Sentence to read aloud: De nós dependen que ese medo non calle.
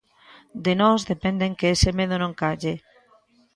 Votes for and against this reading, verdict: 1, 2, rejected